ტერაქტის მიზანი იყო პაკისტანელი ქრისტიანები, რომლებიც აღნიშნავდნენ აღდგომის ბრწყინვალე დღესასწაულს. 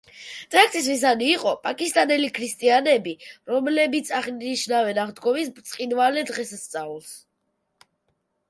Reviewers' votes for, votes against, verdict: 0, 2, rejected